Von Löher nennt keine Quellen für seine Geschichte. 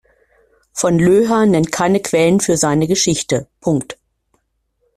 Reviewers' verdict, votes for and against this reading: rejected, 0, 2